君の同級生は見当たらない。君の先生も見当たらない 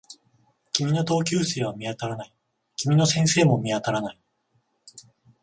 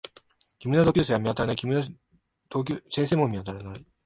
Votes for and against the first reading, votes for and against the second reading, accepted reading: 14, 0, 1, 2, first